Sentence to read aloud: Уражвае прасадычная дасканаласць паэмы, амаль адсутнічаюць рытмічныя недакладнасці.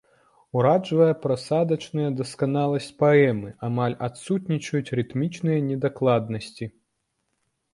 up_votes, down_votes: 2, 1